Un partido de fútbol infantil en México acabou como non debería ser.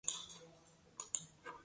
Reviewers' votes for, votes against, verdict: 0, 2, rejected